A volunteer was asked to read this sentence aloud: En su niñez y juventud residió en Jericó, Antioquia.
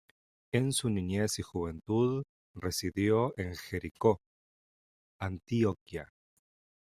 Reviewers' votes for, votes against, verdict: 0, 2, rejected